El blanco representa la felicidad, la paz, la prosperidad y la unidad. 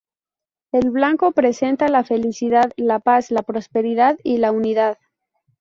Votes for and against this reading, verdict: 2, 2, rejected